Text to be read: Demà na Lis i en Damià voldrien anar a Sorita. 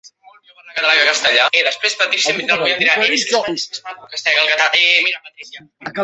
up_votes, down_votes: 0, 2